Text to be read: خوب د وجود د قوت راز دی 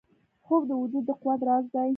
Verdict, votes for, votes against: rejected, 1, 3